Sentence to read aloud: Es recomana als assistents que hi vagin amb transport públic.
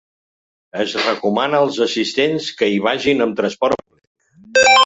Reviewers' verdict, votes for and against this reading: rejected, 0, 2